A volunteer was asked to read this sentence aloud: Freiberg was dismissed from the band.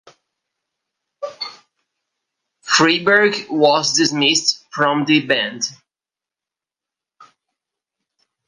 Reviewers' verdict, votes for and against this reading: accepted, 2, 1